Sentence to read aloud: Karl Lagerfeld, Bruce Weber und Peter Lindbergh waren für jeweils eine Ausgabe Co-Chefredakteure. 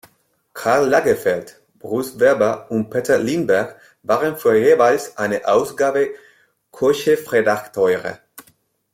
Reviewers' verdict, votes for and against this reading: rejected, 1, 2